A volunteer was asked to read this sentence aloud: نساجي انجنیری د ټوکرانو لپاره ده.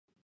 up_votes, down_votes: 1, 2